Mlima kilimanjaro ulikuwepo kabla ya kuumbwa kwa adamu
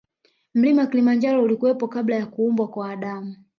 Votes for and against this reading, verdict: 1, 2, rejected